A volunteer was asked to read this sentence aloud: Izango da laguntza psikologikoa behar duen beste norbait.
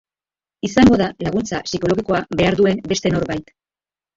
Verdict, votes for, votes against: rejected, 0, 2